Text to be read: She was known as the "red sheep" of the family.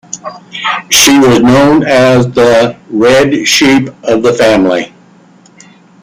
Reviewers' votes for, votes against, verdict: 1, 2, rejected